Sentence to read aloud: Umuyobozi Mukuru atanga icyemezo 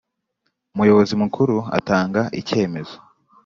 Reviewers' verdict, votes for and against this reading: accepted, 2, 0